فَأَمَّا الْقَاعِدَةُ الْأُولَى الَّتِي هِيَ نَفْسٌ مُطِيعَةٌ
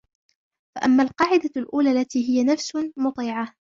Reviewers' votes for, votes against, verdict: 1, 2, rejected